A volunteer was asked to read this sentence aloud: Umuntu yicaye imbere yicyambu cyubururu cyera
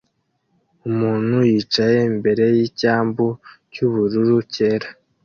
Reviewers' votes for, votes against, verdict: 2, 0, accepted